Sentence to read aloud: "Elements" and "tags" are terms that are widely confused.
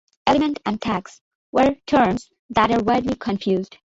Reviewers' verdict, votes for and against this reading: rejected, 0, 2